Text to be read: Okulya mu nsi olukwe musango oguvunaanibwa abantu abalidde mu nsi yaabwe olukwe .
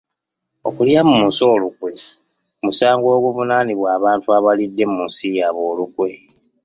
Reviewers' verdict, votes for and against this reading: accepted, 2, 0